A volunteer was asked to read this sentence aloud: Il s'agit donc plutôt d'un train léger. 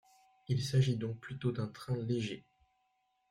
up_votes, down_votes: 2, 0